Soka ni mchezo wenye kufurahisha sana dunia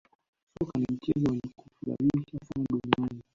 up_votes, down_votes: 0, 2